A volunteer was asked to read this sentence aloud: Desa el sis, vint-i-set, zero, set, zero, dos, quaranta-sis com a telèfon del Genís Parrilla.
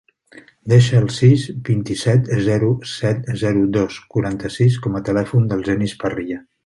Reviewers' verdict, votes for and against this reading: rejected, 0, 2